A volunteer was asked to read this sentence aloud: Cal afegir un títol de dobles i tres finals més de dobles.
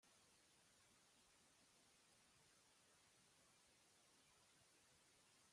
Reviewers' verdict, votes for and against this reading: rejected, 0, 2